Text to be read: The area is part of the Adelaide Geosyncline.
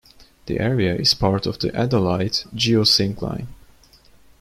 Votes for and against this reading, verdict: 2, 0, accepted